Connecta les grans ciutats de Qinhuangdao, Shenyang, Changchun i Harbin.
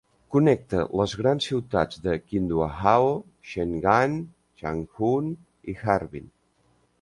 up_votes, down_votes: 1, 2